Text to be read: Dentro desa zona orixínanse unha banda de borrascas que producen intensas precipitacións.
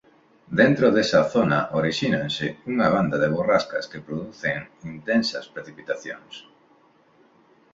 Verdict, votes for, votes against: accepted, 2, 0